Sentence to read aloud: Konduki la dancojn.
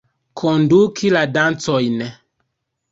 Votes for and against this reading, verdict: 2, 0, accepted